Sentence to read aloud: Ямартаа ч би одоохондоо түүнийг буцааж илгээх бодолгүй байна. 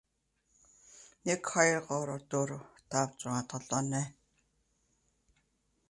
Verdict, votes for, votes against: rejected, 0, 2